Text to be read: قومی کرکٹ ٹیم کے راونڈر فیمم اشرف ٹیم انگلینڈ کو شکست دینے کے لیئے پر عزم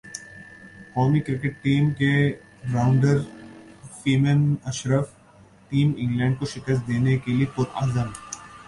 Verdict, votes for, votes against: accepted, 2, 0